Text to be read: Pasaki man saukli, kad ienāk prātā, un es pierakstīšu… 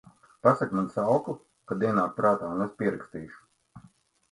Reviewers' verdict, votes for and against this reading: accepted, 2, 0